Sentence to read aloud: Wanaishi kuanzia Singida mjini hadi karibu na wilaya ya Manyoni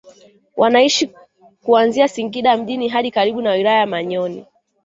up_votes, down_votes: 0, 2